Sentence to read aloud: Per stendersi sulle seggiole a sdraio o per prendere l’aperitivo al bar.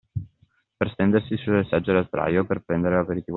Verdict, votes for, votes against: accepted, 2, 1